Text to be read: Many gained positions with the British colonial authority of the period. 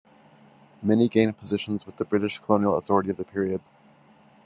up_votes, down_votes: 2, 0